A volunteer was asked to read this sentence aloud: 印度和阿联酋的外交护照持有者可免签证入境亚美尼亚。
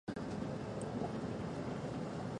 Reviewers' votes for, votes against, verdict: 1, 2, rejected